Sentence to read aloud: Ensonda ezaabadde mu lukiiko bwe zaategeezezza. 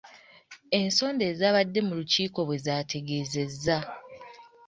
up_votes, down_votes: 2, 0